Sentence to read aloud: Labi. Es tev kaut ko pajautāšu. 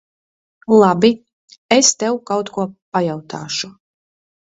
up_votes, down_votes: 3, 0